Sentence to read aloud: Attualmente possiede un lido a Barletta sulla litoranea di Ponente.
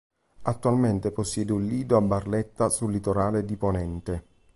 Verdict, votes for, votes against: rejected, 0, 2